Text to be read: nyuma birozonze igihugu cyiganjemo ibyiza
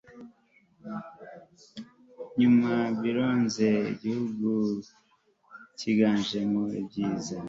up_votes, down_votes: 0, 2